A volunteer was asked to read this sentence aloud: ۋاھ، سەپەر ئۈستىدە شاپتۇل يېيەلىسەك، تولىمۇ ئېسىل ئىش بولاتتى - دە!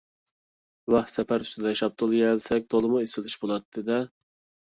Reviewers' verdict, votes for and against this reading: accepted, 2, 0